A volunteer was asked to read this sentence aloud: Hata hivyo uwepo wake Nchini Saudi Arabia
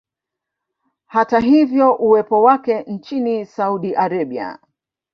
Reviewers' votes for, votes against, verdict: 1, 2, rejected